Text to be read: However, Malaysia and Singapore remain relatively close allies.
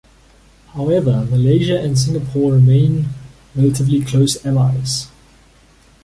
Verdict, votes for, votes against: accepted, 2, 0